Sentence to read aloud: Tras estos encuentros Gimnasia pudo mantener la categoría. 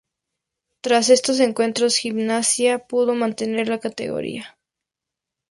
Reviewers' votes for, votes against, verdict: 2, 0, accepted